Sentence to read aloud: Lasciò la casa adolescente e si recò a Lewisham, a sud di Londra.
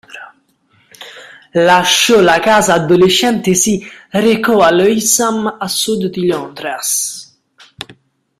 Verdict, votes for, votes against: rejected, 0, 2